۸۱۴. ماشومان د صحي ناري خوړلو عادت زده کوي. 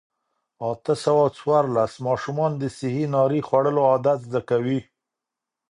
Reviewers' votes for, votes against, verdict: 0, 2, rejected